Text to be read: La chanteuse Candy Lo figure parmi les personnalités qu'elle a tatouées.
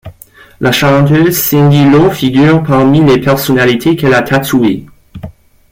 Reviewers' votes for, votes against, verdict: 0, 2, rejected